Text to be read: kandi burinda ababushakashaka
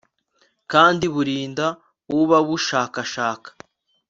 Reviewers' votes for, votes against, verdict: 0, 2, rejected